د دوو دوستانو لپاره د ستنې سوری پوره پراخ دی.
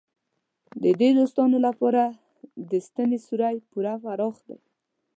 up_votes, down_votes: 2, 0